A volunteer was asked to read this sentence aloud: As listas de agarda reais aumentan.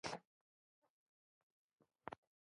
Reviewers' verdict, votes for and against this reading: rejected, 1, 2